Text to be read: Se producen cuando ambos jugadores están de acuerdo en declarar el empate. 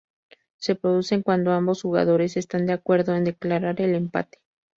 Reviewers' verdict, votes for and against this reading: accepted, 6, 0